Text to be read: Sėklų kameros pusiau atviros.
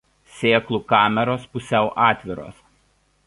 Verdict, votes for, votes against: rejected, 1, 2